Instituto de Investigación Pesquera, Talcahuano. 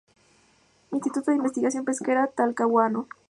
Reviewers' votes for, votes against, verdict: 2, 0, accepted